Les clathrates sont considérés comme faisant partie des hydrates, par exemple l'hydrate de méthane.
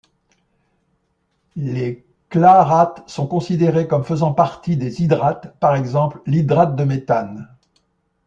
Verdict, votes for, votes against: rejected, 1, 2